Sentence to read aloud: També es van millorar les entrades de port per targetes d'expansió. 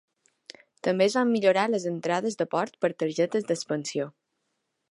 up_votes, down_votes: 3, 0